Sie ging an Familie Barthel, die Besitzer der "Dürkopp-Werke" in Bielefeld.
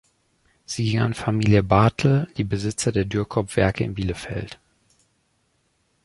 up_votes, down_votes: 1, 2